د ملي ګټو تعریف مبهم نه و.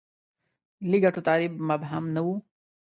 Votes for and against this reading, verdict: 2, 0, accepted